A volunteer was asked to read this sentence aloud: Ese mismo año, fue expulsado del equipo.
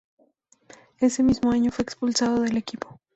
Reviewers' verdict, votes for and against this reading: accepted, 2, 0